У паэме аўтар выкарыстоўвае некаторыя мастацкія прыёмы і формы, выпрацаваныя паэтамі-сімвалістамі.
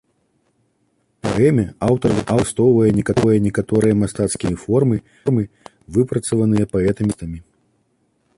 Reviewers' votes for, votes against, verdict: 0, 2, rejected